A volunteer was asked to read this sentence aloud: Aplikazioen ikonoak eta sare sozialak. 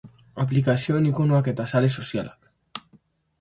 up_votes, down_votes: 2, 0